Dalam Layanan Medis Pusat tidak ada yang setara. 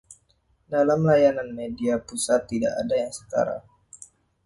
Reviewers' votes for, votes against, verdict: 1, 2, rejected